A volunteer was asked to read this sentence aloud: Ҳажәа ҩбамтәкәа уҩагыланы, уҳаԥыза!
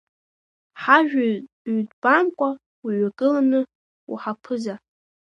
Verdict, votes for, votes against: accepted, 2, 0